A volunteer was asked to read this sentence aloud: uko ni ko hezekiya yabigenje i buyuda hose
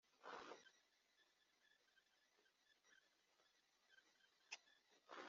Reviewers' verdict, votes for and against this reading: rejected, 0, 2